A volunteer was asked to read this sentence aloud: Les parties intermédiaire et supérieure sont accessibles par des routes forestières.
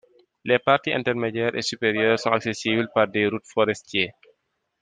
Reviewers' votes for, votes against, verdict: 0, 2, rejected